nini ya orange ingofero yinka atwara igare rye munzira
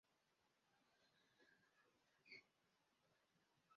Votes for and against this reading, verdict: 0, 2, rejected